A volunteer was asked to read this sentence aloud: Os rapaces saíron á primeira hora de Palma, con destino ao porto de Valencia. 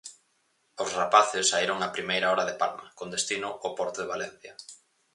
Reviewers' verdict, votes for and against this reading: accepted, 4, 0